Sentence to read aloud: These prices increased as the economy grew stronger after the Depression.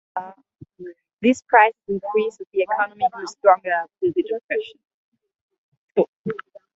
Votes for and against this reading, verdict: 1, 2, rejected